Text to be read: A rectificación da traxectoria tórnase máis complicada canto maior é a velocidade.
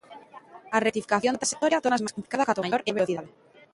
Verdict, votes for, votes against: rejected, 0, 2